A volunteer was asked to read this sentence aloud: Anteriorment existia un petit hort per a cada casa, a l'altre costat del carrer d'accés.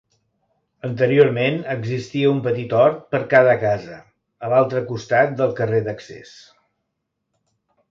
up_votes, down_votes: 0, 2